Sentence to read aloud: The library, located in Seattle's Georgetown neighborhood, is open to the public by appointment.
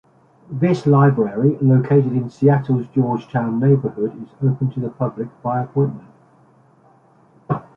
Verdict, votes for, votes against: rejected, 1, 2